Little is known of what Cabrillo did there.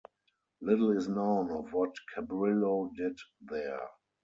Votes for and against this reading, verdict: 4, 2, accepted